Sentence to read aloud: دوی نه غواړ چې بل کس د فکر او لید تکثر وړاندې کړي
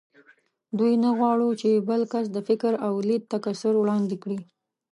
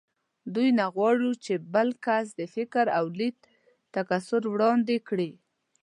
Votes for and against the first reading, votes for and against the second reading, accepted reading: 1, 2, 2, 0, second